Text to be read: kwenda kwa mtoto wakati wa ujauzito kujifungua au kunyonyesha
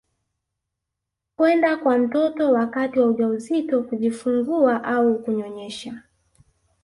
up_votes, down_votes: 3, 0